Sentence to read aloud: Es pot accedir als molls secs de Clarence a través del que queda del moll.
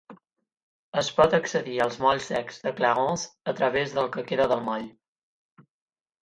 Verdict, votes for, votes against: rejected, 4, 4